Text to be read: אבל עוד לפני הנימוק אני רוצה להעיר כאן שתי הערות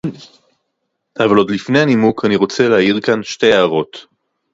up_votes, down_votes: 2, 0